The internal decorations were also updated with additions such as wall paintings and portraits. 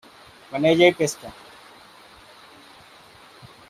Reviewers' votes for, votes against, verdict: 0, 2, rejected